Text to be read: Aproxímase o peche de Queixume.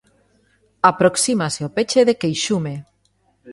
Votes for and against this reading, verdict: 2, 1, accepted